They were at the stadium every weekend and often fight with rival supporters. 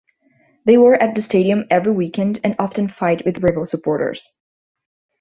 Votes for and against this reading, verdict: 0, 2, rejected